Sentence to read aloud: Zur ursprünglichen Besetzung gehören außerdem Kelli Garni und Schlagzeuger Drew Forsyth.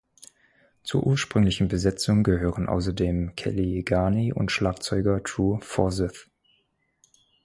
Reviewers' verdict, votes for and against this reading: accepted, 4, 0